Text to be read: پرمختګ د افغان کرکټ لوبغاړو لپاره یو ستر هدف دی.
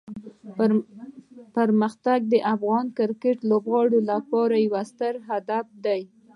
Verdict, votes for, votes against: rejected, 0, 2